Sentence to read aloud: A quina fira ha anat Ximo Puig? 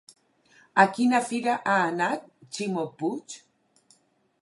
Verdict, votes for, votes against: accepted, 4, 0